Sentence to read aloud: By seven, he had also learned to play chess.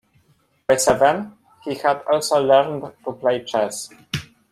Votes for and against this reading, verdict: 0, 2, rejected